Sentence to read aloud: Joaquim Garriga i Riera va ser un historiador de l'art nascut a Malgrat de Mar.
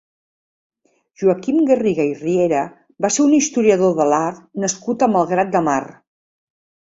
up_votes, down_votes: 4, 0